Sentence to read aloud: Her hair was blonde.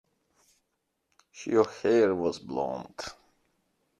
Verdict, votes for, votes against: accepted, 2, 0